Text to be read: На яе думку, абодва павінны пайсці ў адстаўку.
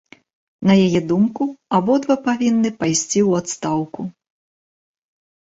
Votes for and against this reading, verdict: 2, 0, accepted